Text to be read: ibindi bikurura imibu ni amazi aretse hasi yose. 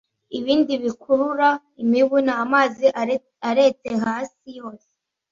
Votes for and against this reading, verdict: 1, 2, rejected